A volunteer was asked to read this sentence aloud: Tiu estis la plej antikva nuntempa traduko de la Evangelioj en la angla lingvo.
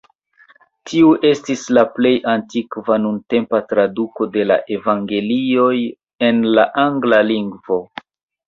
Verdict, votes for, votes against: accepted, 2, 1